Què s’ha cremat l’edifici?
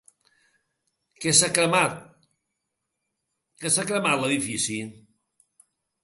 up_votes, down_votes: 1, 3